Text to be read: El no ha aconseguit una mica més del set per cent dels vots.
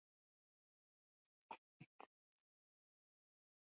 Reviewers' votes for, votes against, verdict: 0, 2, rejected